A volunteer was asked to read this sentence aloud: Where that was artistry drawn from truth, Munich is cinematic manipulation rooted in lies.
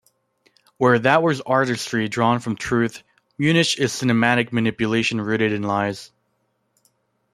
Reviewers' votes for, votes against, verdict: 2, 0, accepted